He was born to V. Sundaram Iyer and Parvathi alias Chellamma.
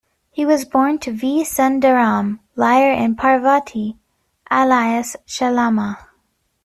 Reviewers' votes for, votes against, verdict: 0, 2, rejected